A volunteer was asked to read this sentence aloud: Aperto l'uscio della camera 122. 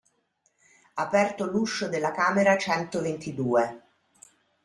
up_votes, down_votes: 0, 2